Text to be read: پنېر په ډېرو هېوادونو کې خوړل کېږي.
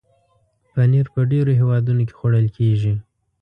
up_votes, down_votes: 2, 0